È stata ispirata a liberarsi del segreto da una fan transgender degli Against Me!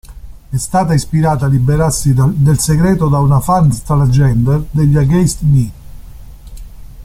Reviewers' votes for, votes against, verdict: 0, 2, rejected